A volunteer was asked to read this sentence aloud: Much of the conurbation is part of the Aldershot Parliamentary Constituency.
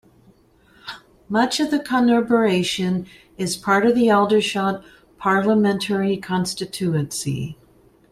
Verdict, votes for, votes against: rejected, 1, 2